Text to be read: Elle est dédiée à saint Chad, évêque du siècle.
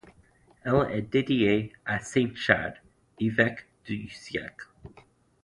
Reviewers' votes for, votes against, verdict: 1, 2, rejected